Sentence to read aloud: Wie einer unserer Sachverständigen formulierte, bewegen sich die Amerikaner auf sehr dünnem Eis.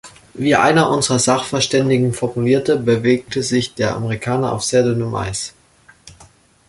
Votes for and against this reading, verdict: 0, 2, rejected